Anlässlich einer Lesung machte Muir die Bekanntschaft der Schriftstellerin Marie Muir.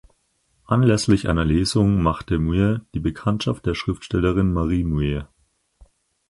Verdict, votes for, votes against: accepted, 4, 0